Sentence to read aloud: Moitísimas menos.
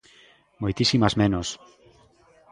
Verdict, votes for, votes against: accepted, 2, 1